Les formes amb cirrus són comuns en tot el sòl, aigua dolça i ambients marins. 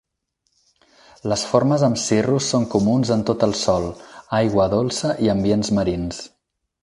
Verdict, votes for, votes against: accepted, 4, 0